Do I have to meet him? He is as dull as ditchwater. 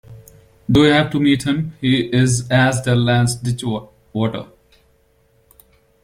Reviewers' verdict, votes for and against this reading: rejected, 0, 2